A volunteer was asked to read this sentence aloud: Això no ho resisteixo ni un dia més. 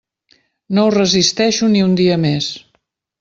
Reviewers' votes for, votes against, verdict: 0, 2, rejected